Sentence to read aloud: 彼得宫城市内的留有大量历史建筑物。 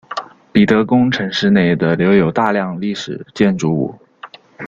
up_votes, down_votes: 2, 0